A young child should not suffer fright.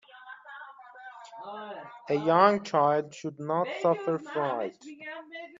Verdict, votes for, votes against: rejected, 1, 2